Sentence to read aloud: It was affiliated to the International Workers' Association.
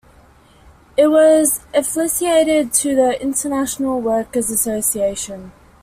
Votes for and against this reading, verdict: 1, 2, rejected